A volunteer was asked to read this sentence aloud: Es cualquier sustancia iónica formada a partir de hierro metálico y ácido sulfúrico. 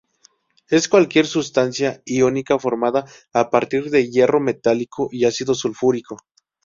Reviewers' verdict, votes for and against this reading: rejected, 0, 2